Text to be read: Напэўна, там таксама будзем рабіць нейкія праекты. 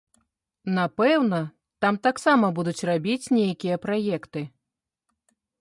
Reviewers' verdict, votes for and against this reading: rejected, 1, 2